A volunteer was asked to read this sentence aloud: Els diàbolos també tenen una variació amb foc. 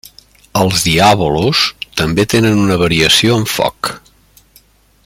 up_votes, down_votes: 2, 0